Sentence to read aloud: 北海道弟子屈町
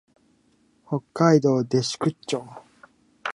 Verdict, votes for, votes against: accepted, 2, 1